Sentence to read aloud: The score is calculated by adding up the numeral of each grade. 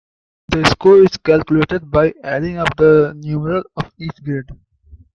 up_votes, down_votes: 1, 2